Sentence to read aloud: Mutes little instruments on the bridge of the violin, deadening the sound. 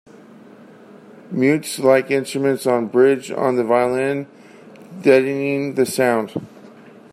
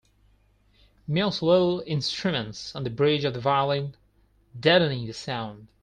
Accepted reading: second